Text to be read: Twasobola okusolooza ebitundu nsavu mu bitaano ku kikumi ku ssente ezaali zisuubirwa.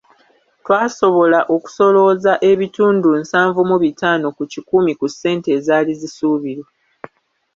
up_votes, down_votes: 1, 2